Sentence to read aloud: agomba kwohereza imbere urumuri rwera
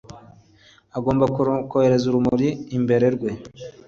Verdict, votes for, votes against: rejected, 1, 2